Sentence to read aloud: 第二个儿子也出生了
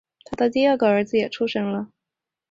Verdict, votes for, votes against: accepted, 2, 1